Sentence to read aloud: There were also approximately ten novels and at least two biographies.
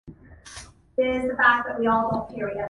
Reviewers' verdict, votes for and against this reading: rejected, 0, 2